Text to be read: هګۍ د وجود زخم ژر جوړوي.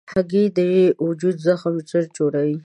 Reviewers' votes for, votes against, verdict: 2, 0, accepted